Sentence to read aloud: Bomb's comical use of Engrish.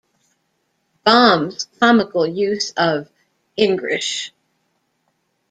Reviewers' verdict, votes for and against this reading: accepted, 2, 0